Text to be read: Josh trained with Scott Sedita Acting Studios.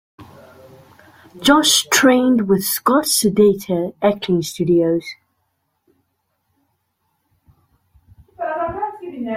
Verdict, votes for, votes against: accepted, 2, 1